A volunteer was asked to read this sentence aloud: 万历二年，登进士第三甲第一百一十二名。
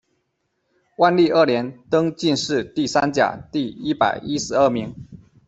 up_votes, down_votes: 2, 3